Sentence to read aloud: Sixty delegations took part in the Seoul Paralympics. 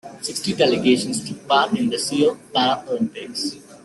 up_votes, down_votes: 2, 1